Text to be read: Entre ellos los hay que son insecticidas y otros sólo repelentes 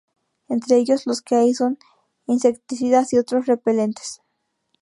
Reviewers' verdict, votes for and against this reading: rejected, 0, 2